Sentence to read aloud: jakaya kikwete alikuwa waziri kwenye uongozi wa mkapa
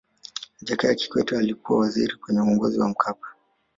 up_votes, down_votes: 0, 2